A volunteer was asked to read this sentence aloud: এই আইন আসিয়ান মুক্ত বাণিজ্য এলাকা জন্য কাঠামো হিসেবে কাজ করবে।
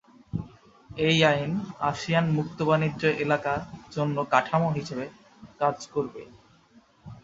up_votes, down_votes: 2, 2